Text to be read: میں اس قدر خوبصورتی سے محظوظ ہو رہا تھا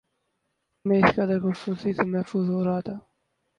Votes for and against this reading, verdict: 2, 2, rejected